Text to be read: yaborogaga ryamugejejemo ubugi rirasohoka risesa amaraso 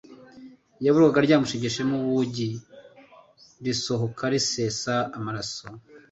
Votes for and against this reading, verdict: 0, 2, rejected